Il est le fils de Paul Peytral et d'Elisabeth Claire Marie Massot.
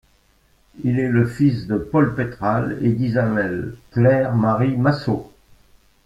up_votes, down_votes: 0, 2